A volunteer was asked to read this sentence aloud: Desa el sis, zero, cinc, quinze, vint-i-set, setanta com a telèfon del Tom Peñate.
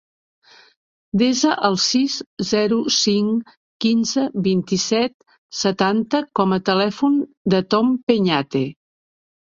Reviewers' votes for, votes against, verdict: 1, 2, rejected